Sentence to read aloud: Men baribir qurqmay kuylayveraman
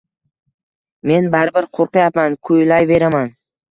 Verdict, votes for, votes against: accepted, 2, 1